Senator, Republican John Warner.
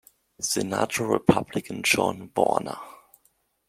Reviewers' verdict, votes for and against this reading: accepted, 2, 1